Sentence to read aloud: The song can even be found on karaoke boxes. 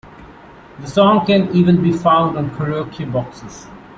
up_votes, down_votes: 2, 0